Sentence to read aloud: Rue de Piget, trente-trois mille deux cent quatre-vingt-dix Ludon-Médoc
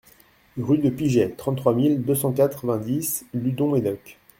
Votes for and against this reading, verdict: 1, 2, rejected